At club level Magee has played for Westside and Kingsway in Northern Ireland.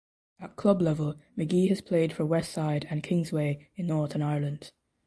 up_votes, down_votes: 2, 0